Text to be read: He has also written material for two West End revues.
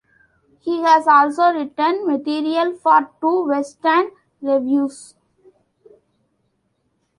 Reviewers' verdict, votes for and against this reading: accepted, 2, 0